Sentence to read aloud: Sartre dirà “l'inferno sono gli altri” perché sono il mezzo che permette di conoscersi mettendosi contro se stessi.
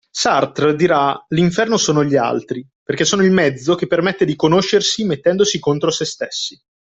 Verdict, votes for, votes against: accepted, 2, 0